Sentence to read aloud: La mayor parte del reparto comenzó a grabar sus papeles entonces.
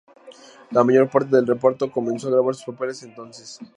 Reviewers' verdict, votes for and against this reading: rejected, 0, 2